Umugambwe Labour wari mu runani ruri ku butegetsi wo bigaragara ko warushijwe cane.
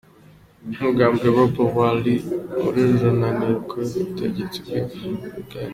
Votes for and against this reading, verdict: 0, 3, rejected